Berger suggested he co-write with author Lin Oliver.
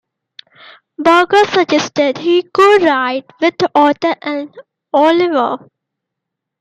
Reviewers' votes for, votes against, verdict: 2, 1, accepted